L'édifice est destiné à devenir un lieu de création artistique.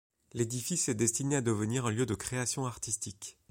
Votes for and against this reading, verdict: 2, 0, accepted